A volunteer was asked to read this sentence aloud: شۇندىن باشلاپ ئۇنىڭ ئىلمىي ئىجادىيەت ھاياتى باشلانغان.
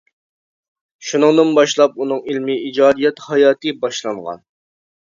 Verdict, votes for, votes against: rejected, 0, 2